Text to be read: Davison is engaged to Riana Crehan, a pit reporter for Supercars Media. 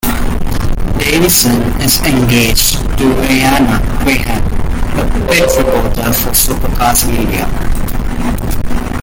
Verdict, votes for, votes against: rejected, 0, 2